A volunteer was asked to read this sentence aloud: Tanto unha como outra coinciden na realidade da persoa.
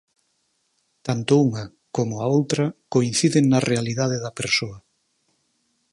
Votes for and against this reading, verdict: 0, 4, rejected